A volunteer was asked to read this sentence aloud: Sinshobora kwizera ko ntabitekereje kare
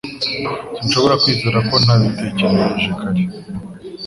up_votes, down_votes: 2, 0